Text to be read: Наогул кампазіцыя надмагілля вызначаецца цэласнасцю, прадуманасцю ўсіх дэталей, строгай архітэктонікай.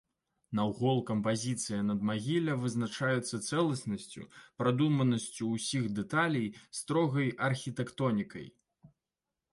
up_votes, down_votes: 0, 2